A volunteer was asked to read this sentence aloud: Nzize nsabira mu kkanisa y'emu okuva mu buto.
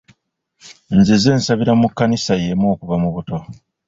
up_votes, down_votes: 2, 1